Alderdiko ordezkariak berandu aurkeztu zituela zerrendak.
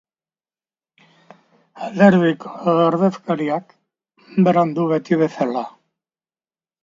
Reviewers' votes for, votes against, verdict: 0, 2, rejected